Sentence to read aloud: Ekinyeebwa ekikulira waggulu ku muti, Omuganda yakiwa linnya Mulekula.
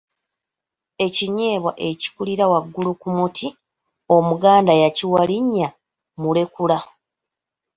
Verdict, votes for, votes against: accepted, 2, 0